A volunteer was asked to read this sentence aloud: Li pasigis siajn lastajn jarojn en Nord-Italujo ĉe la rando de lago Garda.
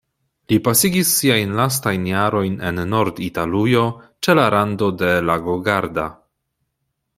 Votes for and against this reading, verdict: 2, 0, accepted